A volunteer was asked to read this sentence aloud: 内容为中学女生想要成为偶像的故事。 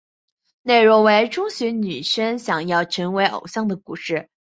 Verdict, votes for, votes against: accepted, 2, 0